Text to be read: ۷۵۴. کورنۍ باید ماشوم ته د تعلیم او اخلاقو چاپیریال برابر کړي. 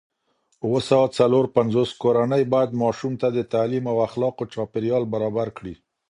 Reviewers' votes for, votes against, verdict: 0, 2, rejected